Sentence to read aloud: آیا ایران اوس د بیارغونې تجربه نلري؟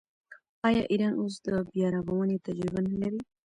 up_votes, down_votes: 2, 0